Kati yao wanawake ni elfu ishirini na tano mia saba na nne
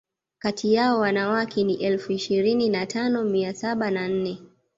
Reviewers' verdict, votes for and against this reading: accepted, 2, 0